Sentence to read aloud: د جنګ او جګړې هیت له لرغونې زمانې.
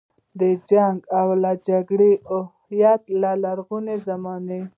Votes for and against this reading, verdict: 1, 2, rejected